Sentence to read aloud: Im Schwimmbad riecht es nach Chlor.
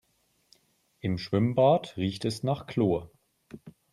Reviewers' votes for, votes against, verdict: 4, 0, accepted